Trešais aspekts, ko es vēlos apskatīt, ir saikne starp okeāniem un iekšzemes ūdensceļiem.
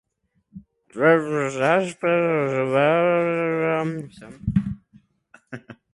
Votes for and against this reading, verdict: 0, 2, rejected